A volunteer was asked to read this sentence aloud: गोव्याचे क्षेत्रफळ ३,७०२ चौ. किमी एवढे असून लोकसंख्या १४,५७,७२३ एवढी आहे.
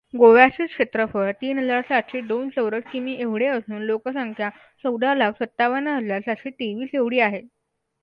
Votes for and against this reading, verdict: 0, 2, rejected